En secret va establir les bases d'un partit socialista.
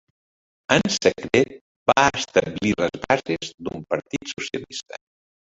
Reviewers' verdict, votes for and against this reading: rejected, 0, 2